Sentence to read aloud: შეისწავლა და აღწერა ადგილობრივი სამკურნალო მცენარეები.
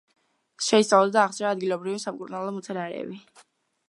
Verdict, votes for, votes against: rejected, 1, 2